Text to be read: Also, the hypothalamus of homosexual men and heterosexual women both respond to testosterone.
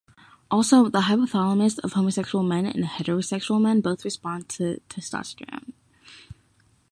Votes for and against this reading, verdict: 0, 3, rejected